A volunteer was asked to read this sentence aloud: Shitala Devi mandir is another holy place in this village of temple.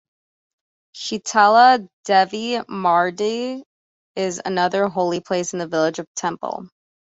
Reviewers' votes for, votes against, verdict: 2, 1, accepted